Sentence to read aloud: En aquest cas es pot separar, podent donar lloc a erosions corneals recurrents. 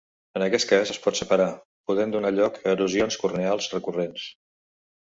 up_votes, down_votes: 2, 0